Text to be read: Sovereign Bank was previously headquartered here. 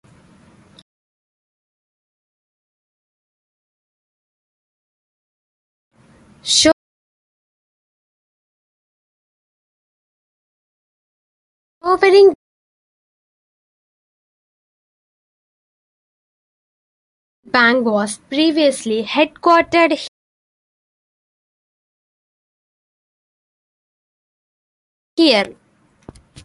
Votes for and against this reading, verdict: 0, 2, rejected